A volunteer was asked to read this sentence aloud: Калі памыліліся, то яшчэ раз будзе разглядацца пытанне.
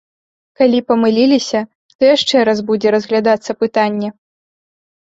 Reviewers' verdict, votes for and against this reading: accepted, 2, 0